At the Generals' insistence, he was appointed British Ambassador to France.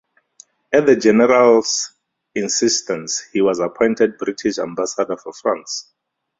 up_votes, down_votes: 0, 4